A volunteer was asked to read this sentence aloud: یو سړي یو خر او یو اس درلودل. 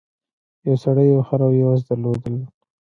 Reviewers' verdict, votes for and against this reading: accepted, 2, 1